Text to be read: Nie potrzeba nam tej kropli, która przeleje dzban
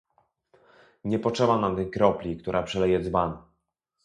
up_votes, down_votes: 0, 2